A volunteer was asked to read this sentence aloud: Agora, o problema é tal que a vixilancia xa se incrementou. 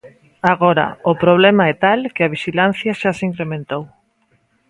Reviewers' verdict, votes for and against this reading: accepted, 2, 0